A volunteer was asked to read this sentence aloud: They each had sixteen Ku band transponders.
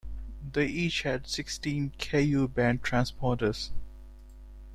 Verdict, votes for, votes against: rejected, 1, 2